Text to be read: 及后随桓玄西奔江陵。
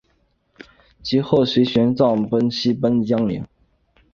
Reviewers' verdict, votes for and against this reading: rejected, 2, 2